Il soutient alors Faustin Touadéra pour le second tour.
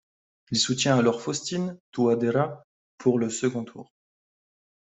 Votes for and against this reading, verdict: 1, 2, rejected